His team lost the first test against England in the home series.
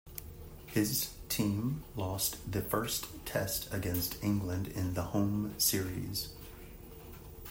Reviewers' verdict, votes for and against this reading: accepted, 2, 0